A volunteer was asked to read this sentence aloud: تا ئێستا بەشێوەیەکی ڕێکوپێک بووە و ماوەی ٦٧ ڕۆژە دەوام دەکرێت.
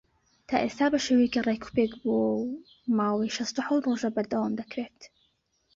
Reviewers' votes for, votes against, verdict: 0, 2, rejected